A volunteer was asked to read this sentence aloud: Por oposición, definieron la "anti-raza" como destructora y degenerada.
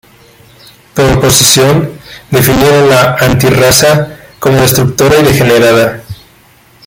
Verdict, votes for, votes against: rejected, 0, 2